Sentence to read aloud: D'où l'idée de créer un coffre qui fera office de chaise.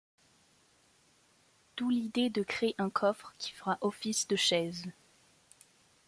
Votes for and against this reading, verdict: 2, 0, accepted